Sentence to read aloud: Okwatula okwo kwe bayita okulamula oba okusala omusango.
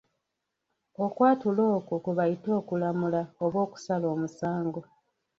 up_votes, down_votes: 1, 2